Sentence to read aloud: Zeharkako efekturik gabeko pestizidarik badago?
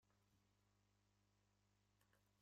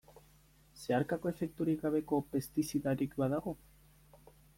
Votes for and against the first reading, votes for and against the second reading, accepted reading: 0, 2, 2, 0, second